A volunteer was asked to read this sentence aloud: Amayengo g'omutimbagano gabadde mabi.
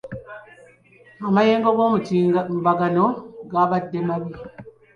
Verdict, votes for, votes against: rejected, 0, 2